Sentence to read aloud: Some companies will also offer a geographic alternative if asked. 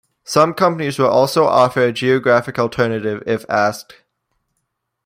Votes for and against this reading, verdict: 2, 0, accepted